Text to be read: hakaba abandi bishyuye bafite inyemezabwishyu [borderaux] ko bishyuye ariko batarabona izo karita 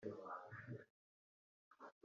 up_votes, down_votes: 0, 3